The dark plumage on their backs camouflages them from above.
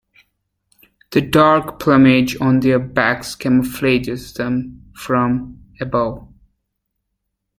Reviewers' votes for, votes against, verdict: 0, 3, rejected